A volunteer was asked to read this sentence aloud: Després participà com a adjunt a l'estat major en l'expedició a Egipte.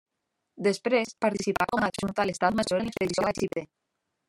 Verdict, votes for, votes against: rejected, 0, 2